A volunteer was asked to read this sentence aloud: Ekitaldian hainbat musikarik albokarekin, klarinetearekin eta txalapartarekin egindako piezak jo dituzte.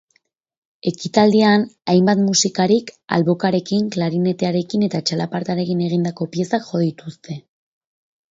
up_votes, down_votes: 8, 0